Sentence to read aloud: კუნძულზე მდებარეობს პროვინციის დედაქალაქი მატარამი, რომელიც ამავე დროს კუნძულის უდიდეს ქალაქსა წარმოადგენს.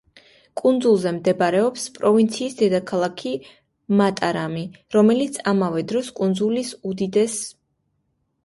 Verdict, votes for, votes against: rejected, 0, 2